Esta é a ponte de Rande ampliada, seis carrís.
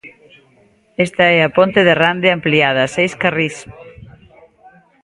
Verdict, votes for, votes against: accepted, 2, 0